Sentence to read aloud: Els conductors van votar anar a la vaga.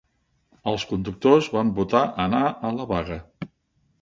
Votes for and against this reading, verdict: 3, 0, accepted